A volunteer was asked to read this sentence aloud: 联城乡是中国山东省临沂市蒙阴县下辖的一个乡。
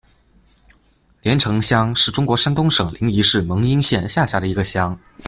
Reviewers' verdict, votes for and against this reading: accepted, 2, 0